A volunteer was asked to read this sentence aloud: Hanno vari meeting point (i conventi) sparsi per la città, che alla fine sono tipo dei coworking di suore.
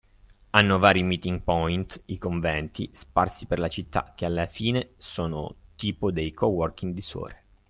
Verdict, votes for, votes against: accepted, 2, 0